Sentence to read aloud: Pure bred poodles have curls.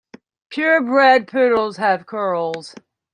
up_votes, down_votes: 1, 2